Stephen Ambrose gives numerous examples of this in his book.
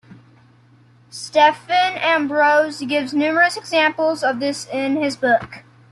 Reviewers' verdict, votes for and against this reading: rejected, 1, 2